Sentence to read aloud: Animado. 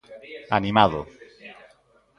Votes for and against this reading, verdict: 1, 2, rejected